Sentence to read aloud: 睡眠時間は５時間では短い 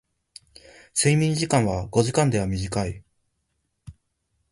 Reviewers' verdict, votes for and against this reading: rejected, 0, 2